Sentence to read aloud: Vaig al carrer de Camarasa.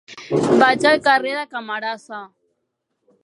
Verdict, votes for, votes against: rejected, 1, 3